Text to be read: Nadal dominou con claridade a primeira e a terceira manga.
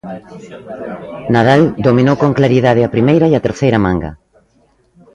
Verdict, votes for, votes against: accepted, 2, 0